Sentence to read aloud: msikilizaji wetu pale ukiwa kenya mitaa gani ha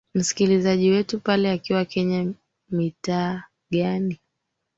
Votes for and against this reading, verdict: 0, 3, rejected